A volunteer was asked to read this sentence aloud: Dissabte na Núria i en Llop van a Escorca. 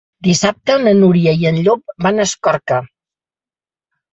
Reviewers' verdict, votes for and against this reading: accepted, 3, 0